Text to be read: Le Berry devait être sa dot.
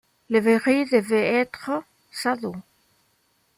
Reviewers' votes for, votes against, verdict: 0, 2, rejected